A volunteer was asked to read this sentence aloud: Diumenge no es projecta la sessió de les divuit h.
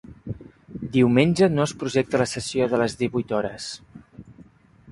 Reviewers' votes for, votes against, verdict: 3, 0, accepted